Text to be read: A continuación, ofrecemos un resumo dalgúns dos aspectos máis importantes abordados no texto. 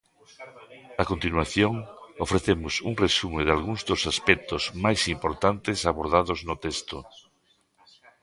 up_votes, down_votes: 0, 2